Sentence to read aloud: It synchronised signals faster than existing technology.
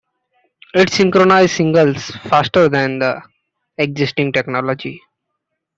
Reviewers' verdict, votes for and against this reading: rejected, 0, 2